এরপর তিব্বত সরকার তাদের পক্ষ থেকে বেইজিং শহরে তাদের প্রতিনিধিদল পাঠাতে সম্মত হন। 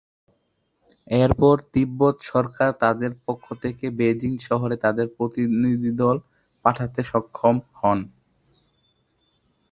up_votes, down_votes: 1, 2